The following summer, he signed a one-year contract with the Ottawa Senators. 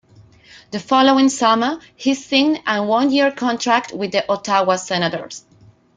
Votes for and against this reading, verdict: 0, 2, rejected